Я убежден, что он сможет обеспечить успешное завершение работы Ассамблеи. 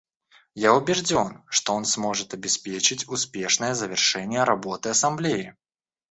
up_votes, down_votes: 0, 2